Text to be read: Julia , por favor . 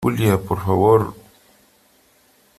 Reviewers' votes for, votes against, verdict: 3, 0, accepted